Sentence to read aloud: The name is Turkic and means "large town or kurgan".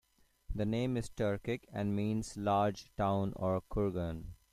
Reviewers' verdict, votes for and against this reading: accepted, 2, 0